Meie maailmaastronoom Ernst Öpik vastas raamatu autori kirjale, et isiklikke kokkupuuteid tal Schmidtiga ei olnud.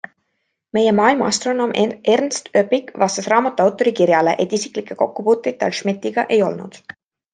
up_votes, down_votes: 2, 1